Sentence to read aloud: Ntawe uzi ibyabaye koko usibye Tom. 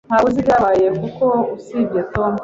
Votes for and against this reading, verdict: 2, 0, accepted